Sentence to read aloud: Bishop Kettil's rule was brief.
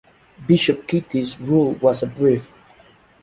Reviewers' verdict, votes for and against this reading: rejected, 1, 2